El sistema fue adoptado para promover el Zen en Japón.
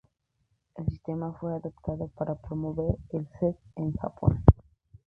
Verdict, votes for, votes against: rejected, 0, 2